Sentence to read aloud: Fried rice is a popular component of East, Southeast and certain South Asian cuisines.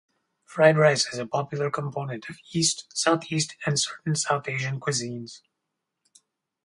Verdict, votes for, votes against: accepted, 2, 0